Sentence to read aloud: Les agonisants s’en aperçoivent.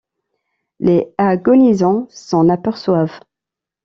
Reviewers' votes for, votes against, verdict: 0, 2, rejected